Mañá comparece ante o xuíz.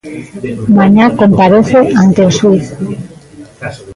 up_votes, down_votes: 1, 2